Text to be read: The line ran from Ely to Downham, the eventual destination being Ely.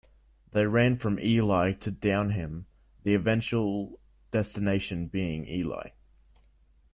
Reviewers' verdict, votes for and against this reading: rejected, 0, 2